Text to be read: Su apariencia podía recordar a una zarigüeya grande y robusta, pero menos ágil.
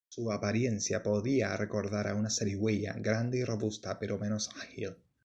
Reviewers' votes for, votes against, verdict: 2, 0, accepted